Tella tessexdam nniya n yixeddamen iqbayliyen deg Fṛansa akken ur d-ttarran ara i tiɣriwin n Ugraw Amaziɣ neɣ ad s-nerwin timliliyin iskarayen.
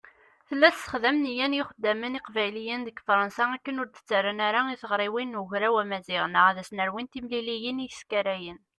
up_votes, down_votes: 2, 0